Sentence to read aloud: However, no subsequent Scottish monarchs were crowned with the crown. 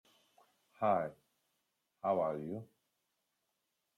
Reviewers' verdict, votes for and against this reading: rejected, 0, 4